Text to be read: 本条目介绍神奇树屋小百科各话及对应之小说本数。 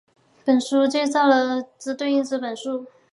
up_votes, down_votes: 0, 6